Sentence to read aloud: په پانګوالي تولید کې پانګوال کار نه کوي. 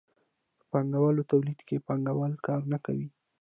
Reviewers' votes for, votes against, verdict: 2, 1, accepted